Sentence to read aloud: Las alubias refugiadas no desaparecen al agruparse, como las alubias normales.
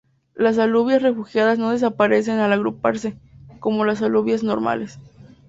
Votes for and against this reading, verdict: 2, 0, accepted